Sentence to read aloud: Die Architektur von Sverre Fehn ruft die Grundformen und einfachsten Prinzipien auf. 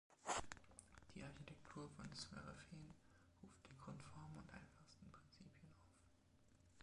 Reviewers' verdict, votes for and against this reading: rejected, 0, 2